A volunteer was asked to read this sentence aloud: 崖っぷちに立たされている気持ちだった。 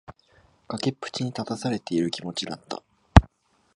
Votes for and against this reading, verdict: 2, 0, accepted